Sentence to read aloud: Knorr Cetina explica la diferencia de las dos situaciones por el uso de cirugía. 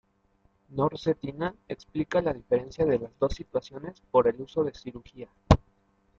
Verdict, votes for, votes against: accepted, 2, 0